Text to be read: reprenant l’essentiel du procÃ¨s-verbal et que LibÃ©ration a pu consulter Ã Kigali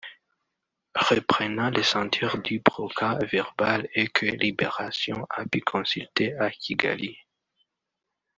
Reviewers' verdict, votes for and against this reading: rejected, 1, 2